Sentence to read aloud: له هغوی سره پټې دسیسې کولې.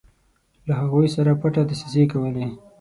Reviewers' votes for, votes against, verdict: 6, 0, accepted